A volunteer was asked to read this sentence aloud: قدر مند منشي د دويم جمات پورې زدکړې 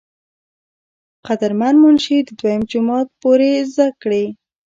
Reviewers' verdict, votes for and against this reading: rejected, 1, 2